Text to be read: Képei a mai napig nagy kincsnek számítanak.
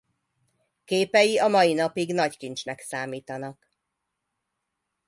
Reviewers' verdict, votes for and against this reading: accepted, 2, 0